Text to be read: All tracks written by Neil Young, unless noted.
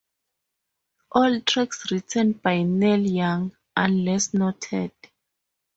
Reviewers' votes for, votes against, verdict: 4, 0, accepted